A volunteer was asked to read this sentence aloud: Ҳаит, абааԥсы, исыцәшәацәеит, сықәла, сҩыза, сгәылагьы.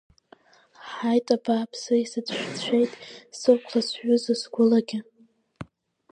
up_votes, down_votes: 1, 3